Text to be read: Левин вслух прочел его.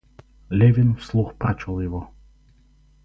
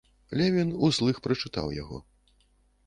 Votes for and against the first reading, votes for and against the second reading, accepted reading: 4, 2, 0, 2, first